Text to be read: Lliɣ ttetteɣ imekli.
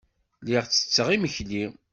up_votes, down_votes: 2, 0